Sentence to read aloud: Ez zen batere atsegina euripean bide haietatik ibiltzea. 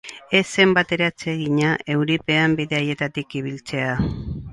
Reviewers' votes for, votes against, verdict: 4, 0, accepted